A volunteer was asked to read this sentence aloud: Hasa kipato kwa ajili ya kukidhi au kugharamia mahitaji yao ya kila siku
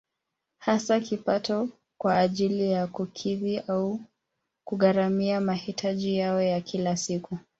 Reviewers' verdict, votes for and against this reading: rejected, 0, 2